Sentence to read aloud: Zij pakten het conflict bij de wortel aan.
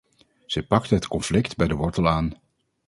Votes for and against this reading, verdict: 0, 2, rejected